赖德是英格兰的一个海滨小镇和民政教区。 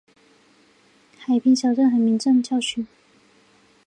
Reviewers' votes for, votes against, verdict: 1, 3, rejected